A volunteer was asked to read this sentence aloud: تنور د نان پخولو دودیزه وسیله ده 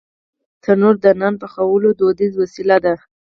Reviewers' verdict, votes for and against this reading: rejected, 2, 4